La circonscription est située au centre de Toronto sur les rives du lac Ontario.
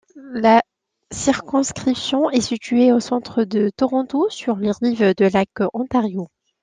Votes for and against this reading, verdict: 0, 2, rejected